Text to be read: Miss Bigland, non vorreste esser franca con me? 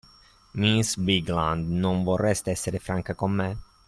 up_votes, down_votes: 2, 0